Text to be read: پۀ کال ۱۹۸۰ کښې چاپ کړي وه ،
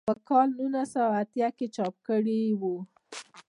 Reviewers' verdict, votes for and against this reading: rejected, 0, 2